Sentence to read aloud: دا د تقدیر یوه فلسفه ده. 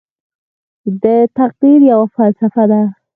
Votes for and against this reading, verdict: 2, 4, rejected